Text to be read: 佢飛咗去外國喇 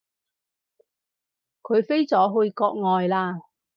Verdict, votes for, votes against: rejected, 2, 4